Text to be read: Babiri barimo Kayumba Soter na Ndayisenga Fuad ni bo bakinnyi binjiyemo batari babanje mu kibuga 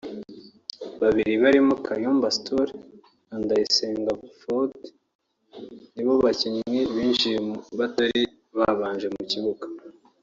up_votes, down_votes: 2, 3